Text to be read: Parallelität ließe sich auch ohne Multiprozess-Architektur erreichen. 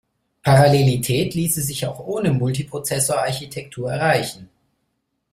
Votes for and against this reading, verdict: 1, 2, rejected